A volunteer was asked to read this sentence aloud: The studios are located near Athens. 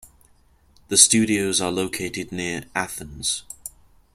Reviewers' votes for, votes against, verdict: 2, 0, accepted